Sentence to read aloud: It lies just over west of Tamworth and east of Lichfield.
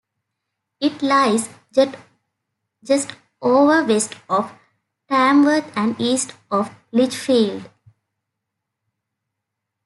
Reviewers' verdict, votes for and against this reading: rejected, 0, 2